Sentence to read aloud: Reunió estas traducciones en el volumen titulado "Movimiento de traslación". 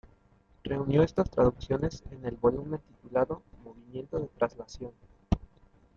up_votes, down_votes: 2, 0